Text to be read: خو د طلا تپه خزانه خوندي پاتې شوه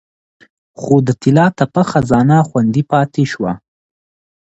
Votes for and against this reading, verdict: 2, 0, accepted